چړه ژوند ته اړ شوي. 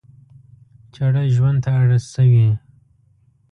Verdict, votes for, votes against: rejected, 1, 2